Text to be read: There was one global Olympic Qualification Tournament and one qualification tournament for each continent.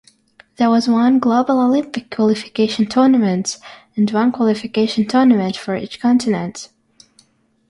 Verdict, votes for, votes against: accepted, 6, 0